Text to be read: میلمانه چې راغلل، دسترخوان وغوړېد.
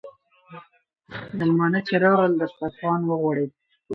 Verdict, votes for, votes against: accepted, 4, 0